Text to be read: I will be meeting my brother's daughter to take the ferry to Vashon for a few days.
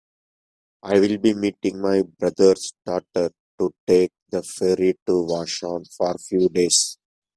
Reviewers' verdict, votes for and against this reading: accepted, 2, 0